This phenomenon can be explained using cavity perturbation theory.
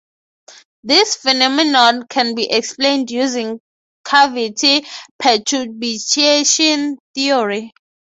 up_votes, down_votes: 0, 3